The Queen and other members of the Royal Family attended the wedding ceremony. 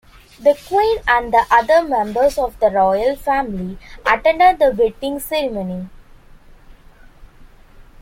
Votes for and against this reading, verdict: 2, 0, accepted